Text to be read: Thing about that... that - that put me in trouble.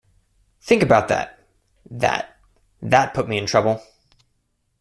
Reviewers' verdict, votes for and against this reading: accepted, 2, 0